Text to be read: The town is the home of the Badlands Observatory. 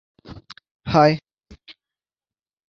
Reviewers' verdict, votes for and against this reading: rejected, 0, 3